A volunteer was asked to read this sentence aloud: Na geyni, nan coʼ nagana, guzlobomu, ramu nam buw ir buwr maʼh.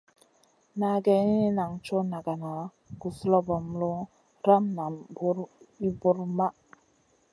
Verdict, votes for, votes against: accepted, 3, 0